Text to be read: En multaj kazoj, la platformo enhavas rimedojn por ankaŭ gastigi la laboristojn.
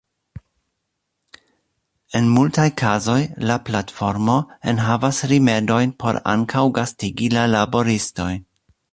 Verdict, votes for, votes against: accepted, 2, 0